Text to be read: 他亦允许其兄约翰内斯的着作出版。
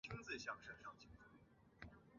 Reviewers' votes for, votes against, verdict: 1, 2, rejected